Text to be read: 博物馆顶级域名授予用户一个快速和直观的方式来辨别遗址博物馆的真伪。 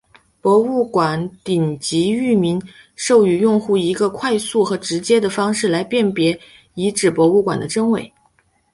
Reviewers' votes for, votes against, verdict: 2, 0, accepted